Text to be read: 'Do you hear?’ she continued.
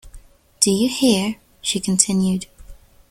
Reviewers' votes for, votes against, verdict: 2, 0, accepted